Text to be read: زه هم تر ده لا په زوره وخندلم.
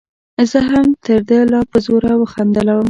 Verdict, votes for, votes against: rejected, 1, 2